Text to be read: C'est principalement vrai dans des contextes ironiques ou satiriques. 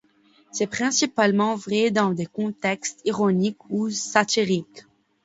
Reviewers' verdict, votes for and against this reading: accepted, 2, 0